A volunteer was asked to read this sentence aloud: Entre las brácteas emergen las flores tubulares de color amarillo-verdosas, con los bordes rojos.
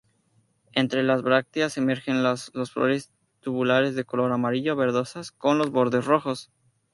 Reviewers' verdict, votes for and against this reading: accepted, 2, 0